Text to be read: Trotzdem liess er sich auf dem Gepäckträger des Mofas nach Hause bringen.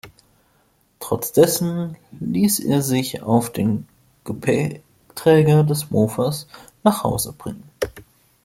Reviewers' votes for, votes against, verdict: 0, 2, rejected